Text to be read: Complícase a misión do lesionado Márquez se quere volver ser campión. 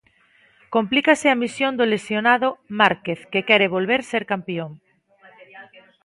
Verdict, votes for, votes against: rejected, 1, 2